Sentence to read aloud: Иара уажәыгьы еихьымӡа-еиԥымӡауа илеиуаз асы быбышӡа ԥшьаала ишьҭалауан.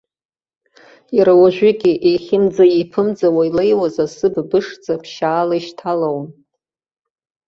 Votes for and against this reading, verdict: 1, 2, rejected